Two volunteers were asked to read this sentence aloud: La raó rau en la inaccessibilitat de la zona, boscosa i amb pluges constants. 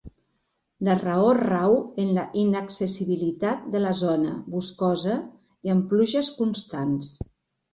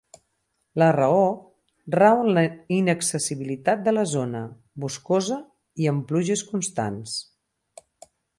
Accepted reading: first